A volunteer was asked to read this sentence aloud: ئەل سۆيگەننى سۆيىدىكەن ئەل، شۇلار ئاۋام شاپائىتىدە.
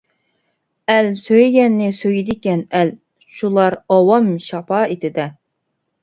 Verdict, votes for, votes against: accepted, 2, 0